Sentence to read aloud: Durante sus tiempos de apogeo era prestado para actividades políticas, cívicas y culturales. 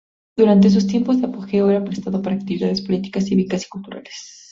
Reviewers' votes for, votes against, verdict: 0, 2, rejected